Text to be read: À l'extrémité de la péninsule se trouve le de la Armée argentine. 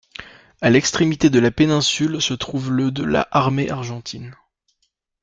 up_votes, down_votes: 2, 0